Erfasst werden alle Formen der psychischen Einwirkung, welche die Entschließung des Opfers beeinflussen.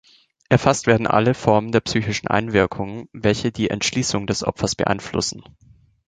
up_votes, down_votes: 2, 0